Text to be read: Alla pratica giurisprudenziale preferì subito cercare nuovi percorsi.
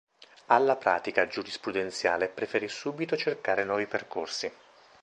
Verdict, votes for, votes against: accepted, 2, 0